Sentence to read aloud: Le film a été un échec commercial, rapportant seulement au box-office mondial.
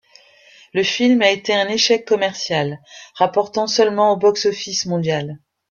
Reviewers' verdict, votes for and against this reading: accepted, 2, 0